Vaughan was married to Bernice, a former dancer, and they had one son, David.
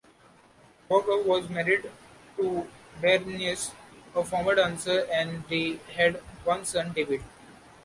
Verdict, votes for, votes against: rejected, 1, 2